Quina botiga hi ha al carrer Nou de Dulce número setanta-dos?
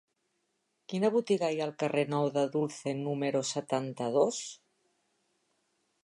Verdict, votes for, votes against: rejected, 1, 2